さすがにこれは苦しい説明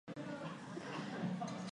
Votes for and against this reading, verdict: 0, 3, rejected